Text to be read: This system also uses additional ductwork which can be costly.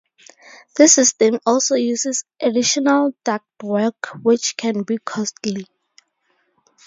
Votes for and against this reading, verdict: 2, 0, accepted